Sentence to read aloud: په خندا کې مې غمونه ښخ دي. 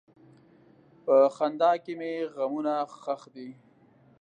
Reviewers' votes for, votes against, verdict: 2, 0, accepted